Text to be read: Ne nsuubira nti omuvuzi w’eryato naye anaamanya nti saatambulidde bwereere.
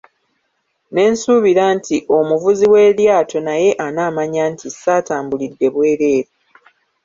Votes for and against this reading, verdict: 1, 2, rejected